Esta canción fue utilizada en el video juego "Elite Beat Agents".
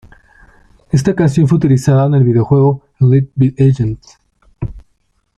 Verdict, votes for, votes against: rejected, 1, 2